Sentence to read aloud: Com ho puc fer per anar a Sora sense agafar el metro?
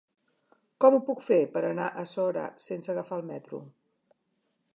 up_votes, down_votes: 1, 2